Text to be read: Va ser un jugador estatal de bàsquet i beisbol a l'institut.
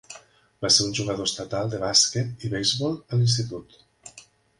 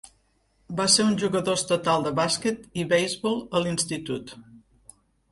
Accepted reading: first